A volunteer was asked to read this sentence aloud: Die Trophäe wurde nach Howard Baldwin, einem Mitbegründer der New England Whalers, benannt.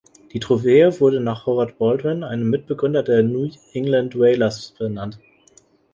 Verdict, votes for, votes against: rejected, 1, 2